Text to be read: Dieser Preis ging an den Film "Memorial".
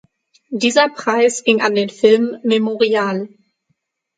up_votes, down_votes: 6, 0